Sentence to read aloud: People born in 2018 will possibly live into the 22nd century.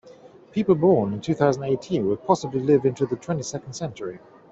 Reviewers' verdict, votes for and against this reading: rejected, 0, 2